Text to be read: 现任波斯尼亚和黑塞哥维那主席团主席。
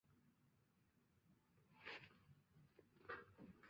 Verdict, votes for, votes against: rejected, 0, 2